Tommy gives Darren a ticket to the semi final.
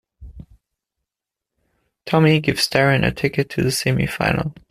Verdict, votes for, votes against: accepted, 2, 1